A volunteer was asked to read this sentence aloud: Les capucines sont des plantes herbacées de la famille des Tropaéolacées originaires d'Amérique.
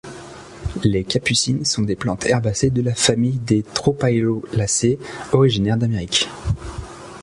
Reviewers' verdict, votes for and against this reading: rejected, 1, 2